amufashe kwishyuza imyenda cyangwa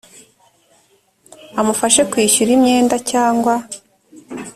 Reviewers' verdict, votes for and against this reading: rejected, 1, 2